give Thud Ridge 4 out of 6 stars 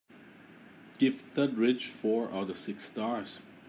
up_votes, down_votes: 0, 2